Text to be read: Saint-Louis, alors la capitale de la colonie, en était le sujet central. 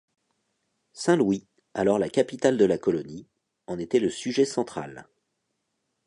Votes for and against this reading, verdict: 2, 0, accepted